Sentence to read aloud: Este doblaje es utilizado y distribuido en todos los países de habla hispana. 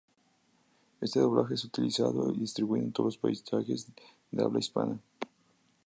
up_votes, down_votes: 0, 2